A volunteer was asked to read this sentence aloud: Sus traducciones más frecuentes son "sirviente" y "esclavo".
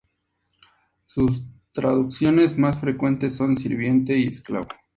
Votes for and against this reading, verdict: 2, 0, accepted